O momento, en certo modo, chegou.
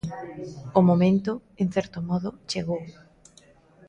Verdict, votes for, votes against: accepted, 2, 0